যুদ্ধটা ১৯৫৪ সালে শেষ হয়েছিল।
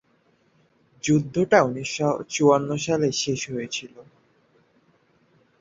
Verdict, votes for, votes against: rejected, 0, 2